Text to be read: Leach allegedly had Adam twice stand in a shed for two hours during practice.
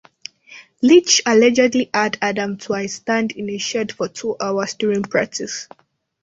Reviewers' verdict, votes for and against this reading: rejected, 1, 2